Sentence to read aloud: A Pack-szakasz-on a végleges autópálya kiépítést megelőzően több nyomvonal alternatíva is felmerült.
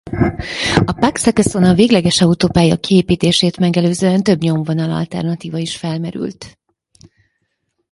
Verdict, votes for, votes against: rejected, 0, 4